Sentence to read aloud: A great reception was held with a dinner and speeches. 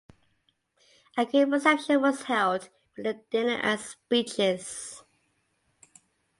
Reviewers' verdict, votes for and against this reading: accepted, 2, 0